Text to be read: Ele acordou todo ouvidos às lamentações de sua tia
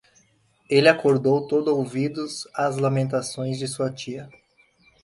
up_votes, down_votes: 2, 0